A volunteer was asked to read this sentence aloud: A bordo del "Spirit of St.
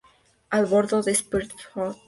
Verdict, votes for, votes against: rejected, 2, 4